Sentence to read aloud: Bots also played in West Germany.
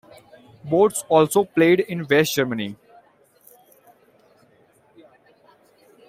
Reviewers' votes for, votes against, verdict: 2, 0, accepted